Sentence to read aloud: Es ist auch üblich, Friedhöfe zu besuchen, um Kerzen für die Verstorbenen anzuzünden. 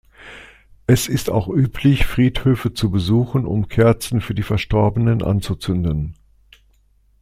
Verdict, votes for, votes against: accepted, 2, 0